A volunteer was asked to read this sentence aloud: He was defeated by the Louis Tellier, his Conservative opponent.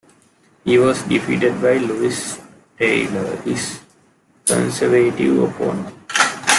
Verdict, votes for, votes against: accepted, 2, 1